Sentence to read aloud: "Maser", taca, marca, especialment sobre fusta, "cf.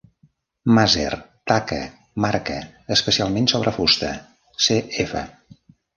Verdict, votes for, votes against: accepted, 2, 0